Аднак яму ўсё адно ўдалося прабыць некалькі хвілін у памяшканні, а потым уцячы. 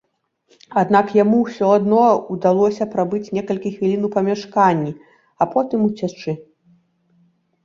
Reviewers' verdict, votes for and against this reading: accepted, 2, 0